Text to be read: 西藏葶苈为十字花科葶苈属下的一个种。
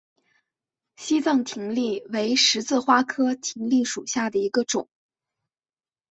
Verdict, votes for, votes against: accepted, 2, 0